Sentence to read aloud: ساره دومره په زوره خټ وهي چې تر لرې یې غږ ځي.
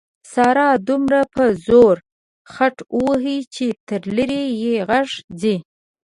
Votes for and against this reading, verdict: 2, 0, accepted